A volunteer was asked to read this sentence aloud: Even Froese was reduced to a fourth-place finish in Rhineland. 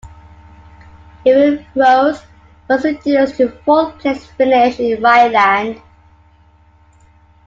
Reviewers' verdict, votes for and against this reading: rejected, 0, 2